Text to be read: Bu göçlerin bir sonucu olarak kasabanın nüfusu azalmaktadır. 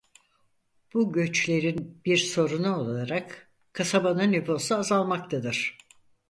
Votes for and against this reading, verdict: 2, 4, rejected